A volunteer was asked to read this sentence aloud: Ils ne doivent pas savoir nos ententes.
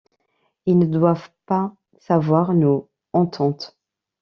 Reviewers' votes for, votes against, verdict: 1, 2, rejected